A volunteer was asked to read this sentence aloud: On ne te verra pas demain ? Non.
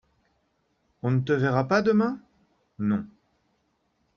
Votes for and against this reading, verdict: 2, 0, accepted